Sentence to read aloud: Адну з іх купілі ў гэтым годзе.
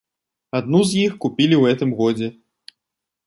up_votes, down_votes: 1, 2